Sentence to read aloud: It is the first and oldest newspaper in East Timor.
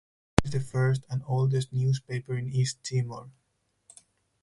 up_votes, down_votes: 2, 0